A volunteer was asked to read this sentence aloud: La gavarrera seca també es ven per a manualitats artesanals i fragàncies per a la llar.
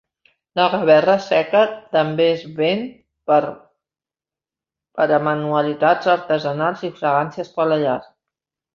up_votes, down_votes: 1, 2